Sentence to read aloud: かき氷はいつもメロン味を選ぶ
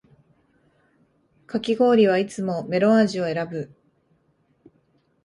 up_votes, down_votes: 2, 0